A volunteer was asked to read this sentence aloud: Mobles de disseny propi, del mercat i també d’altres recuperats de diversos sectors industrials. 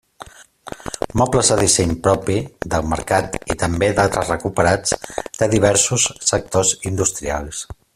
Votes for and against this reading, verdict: 2, 0, accepted